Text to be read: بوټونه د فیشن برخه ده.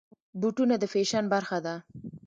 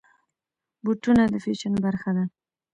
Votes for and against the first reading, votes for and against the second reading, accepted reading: 2, 0, 1, 2, first